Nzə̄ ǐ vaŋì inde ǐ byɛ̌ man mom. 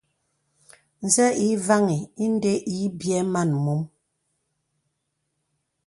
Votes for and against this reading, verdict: 2, 0, accepted